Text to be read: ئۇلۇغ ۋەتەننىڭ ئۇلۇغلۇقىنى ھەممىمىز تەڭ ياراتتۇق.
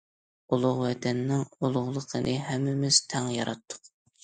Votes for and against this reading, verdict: 2, 0, accepted